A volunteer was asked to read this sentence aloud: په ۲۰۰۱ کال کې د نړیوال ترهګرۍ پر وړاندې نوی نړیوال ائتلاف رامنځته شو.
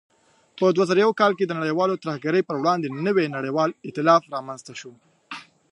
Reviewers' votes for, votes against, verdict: 0, 2, rejected